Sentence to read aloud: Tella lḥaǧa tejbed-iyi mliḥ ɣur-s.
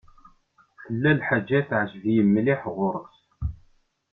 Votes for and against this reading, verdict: 2, 0, accepted